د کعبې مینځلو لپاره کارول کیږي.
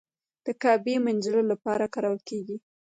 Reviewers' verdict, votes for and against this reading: accepted, 2, 0